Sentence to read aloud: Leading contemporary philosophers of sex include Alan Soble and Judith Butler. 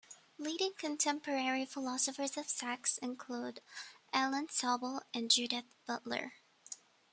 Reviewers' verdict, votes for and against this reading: rejected, 0, 2